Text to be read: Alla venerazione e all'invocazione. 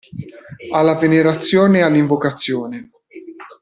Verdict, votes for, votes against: rejected, 0, 2